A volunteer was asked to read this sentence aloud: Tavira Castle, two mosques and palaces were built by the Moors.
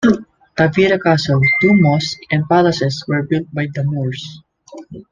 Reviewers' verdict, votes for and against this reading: accepted, 2, 0